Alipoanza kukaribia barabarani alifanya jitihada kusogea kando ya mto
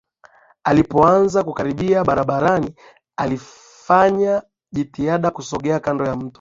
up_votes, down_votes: 3, 4